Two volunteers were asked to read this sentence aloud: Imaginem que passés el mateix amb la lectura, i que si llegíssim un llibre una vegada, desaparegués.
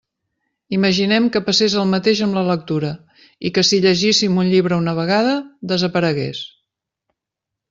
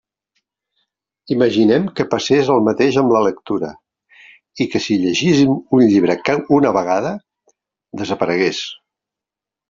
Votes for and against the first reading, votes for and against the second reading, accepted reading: 3, 0, 0, 2, first